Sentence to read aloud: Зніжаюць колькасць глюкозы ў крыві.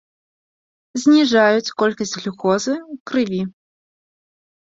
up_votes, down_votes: 2, 0